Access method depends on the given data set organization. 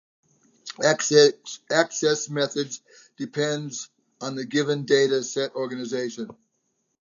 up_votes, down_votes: 1, 2